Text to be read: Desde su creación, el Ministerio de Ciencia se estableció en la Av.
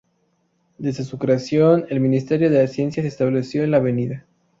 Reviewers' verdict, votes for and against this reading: rejected, 2, 2